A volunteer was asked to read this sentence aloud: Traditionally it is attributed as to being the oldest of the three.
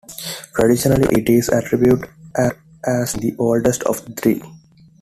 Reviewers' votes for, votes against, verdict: 0, 2, rejected